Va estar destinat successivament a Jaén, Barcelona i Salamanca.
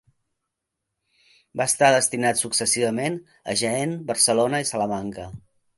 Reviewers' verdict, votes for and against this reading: accepted, 2, 0